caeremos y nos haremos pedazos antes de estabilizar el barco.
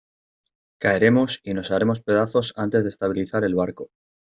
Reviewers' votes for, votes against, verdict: 2, 0, accepted